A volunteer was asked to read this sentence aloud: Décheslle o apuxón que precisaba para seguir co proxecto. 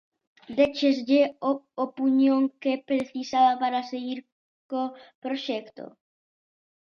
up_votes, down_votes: 0, 2